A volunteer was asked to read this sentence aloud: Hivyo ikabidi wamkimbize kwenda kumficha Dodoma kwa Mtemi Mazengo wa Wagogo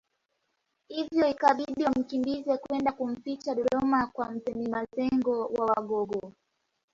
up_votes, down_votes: 1, 2